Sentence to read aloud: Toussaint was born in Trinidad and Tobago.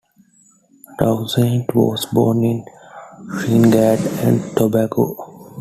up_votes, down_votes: 1, 2